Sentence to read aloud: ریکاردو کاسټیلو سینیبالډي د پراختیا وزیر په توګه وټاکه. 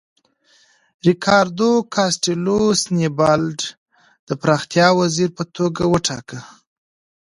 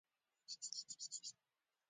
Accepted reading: first